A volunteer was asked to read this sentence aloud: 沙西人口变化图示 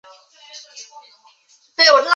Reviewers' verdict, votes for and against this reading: rejected, 1, 2